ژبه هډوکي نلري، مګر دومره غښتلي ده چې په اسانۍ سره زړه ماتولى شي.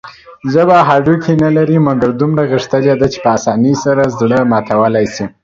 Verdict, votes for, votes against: accepted, 2, 0